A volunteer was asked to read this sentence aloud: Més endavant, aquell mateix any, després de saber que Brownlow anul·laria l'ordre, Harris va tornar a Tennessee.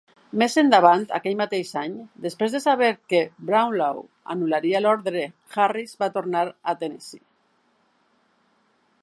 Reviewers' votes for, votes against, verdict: 3, 0, accepted